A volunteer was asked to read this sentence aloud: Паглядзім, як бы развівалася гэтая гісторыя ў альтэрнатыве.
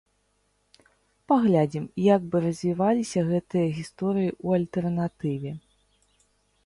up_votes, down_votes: 0, 2